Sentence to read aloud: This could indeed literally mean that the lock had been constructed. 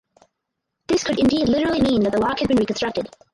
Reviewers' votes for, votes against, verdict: 2, 4, rejected